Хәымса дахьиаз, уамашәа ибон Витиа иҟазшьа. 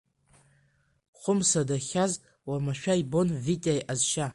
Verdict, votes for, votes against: rejected, 1, 2